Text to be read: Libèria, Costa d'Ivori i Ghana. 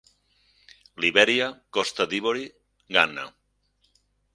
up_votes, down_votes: 2, 4